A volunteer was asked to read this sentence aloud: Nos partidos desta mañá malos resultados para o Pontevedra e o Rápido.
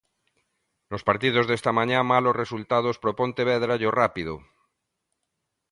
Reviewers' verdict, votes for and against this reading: accepted, 2, 0